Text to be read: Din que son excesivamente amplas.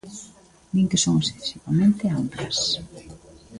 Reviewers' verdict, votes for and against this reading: rejected, 0, 2